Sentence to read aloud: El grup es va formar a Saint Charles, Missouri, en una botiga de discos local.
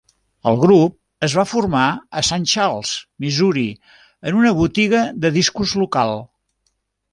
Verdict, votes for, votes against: accepted, 3, 0